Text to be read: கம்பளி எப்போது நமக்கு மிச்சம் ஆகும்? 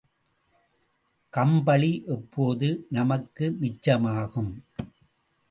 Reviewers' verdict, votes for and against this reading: accepted, 3, 0